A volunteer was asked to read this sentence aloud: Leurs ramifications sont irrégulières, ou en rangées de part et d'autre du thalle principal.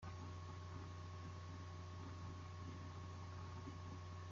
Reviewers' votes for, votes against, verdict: 0, 2, rejected